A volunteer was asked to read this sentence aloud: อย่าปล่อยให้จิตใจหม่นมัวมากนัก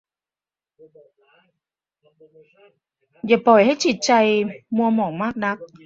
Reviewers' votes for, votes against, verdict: 0, 2, rejected